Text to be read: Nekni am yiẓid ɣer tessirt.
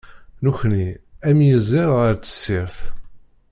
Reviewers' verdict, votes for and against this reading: rejected, 1, 2